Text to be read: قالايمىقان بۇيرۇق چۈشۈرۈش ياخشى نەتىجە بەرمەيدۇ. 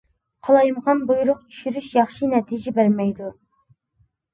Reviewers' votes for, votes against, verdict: 3, 0, accepted